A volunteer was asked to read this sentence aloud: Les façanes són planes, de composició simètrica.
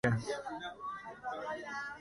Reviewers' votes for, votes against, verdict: 1, 2, rejected